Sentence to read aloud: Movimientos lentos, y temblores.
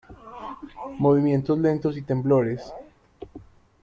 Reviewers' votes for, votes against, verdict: 0, 2, rejected